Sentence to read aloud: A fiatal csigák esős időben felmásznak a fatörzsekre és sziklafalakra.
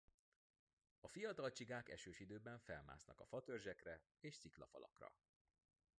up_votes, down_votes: 3, 0